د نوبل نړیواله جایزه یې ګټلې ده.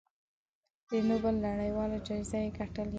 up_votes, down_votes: 2, 0